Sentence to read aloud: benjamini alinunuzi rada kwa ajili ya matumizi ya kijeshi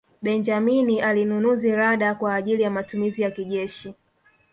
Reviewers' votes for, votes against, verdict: 1, 2, rejected